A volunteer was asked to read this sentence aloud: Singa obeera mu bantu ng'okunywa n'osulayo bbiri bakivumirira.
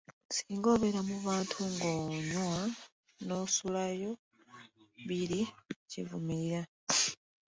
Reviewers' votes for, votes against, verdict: 1, 2, rejected